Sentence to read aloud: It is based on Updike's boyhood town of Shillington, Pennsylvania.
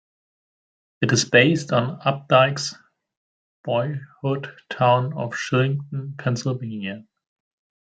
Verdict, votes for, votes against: rejected, 0, 2